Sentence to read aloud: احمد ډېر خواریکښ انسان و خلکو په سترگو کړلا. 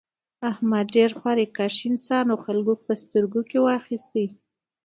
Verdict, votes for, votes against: accepted, 2, 1